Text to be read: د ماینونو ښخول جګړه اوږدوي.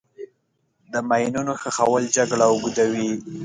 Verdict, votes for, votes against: accepted, 2, 0